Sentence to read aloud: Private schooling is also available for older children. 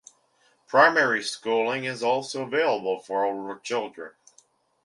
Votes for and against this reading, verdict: 1, 2, rejected